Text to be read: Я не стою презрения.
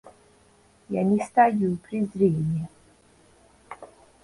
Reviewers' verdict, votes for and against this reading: rejected, 0, 2